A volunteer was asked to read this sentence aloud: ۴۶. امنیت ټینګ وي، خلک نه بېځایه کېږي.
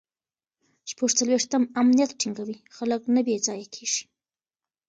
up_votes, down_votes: 0, 2